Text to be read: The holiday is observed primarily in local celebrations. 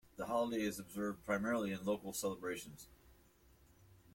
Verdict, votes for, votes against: accepted, 2, 0